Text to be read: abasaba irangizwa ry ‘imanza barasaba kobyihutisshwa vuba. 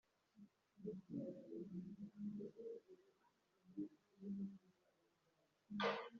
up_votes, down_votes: 1, 2